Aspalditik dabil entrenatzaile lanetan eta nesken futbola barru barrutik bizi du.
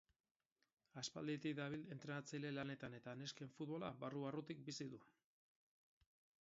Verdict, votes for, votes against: rejected, 2, 4